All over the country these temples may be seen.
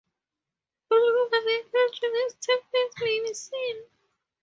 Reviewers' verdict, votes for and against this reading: accepted, 2, 0